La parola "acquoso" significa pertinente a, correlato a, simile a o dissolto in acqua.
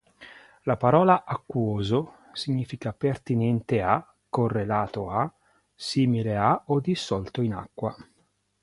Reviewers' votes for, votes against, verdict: 2, 0, accepted